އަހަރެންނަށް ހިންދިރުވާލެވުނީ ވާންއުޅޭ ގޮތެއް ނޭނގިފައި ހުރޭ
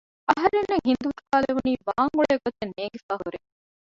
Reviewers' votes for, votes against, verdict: 0, 2, rejected